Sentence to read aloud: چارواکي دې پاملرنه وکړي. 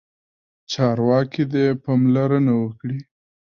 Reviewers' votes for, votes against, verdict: 2, 0, accepted